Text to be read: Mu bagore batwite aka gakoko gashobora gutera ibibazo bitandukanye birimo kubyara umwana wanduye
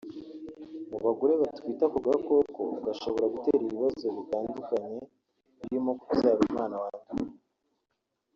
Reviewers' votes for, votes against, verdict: 3, 0, accepted